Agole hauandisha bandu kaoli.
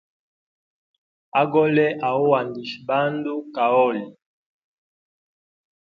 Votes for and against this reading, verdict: 2, 0, accepted